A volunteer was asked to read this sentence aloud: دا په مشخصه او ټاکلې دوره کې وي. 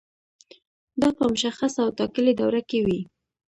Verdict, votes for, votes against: accepted, 2, 0